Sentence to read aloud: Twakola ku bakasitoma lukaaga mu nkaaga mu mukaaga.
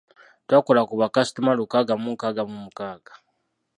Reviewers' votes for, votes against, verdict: 2, 0, accepted